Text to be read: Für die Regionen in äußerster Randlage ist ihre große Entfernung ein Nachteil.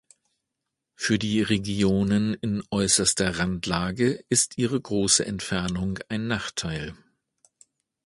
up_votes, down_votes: 2, 0